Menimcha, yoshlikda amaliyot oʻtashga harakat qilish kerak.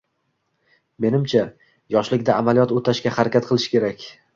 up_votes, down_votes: 2, 0